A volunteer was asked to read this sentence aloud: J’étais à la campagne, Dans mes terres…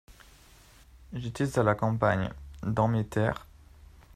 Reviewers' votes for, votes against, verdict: 2, 0, accepted